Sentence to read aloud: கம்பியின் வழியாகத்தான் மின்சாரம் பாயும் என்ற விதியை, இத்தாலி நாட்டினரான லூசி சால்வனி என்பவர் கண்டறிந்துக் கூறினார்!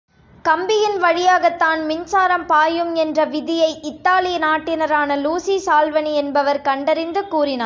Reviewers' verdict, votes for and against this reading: accepted, 2, 0